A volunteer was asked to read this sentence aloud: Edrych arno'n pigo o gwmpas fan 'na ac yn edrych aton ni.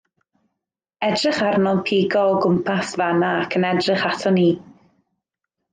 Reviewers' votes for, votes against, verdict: 2, 0, accepted